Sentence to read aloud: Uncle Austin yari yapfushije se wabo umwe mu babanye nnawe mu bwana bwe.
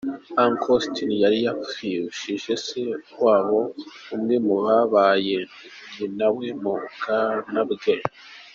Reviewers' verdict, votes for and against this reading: rejected, 0, 2